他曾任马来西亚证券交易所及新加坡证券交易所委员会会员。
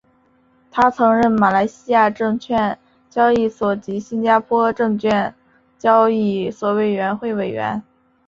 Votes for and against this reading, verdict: 5, 2, accepted